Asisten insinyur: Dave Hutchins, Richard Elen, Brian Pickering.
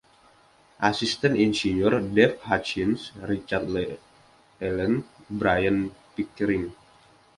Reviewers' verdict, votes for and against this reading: accepted, 2, 1